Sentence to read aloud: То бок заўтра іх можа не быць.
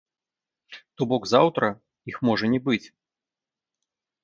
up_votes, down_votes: 0, 3